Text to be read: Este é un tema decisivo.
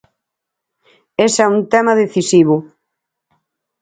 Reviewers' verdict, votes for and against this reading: rejected, 2, 6